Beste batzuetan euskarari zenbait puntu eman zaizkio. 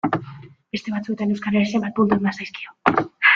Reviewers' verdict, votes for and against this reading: rejected, 1, 2